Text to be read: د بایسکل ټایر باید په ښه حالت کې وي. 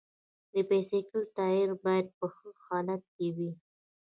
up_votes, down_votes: 2, 0